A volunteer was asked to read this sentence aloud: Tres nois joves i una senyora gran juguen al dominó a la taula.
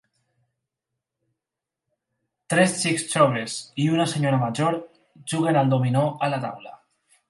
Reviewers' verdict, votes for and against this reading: rejected, 0, 4